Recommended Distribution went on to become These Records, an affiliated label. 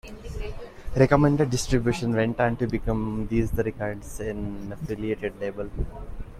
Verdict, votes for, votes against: accepted, 2, 0